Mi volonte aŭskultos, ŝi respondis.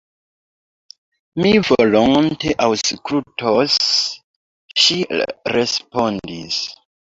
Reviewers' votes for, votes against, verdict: 2, 1, accepted